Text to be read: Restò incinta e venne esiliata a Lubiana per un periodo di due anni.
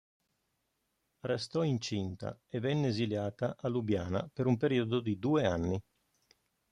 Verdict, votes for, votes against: accepted, 2, 0